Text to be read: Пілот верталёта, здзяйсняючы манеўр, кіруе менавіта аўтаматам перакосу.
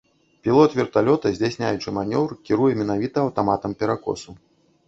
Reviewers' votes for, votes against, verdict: 1, 2, rejected